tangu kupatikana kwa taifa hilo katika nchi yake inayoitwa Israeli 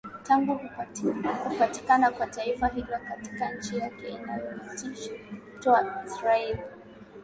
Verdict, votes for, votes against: rejected, 0, 2